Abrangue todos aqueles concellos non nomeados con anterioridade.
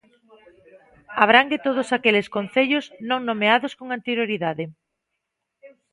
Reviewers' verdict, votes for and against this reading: rejected, 0, 2